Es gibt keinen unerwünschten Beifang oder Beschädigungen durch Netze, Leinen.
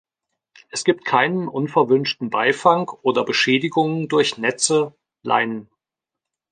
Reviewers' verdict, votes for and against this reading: rejected, 0, 2